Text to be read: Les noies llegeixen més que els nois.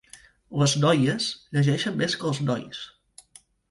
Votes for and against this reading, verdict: 3, 0, accepted